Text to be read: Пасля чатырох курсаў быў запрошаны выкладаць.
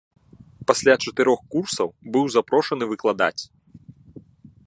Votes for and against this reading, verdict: 2, 0, accepted